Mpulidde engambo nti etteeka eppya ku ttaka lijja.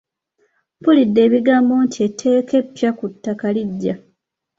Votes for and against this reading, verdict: 0, 2, rejected